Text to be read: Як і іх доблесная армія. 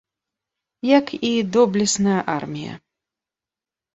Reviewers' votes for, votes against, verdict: 0, 2, rejected